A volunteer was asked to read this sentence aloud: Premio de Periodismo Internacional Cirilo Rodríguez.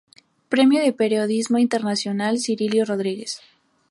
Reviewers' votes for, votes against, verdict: 0, 2, rejected